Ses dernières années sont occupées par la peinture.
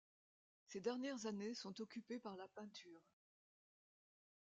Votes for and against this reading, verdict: 2, 1, accepted